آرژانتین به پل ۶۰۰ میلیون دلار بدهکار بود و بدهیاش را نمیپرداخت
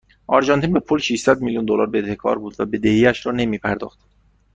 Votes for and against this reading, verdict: 0, 2, rejected